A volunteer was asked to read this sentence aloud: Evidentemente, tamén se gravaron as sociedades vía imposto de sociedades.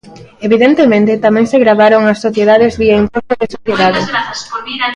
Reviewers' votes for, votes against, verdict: 0, 2, rejected